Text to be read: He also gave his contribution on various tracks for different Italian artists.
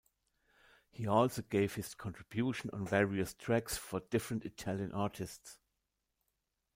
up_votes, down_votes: 0, 2